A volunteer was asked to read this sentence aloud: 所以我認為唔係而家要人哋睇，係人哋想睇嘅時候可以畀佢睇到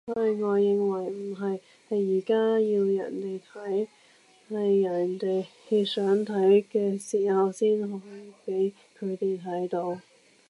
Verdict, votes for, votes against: rejected, 0, 2